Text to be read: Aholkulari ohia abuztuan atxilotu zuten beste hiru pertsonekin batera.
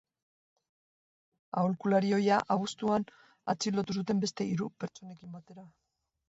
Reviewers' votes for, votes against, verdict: 0, 2, rejected